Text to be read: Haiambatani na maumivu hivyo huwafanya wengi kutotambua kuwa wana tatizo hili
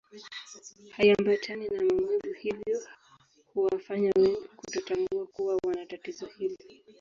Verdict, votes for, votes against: rejected, 1, 2